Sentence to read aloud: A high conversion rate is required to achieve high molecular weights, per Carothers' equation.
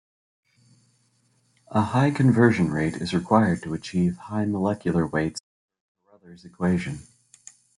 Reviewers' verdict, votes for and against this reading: rejected, 0, 2